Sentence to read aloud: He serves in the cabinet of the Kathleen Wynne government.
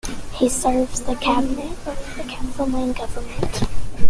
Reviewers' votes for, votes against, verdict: 0, 2, rejected